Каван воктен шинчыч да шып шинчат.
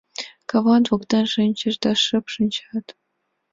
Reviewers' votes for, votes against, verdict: 2, 1, accepted